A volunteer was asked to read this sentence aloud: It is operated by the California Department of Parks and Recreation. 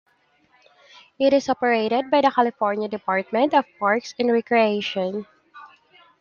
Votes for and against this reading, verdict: 1, 2, rejected